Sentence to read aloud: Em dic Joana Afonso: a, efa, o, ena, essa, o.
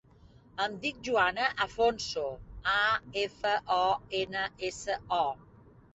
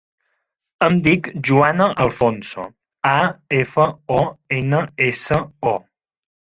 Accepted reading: first